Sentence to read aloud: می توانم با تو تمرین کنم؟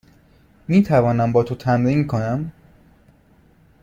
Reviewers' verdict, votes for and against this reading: accepted, 2, 0